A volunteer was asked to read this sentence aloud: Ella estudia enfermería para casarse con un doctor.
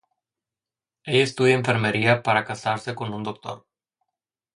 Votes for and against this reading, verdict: 0, 2, rejected